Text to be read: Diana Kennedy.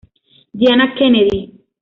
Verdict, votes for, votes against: accepted, 2, 0